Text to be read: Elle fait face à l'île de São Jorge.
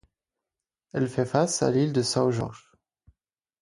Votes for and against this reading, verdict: 4, 0, accepted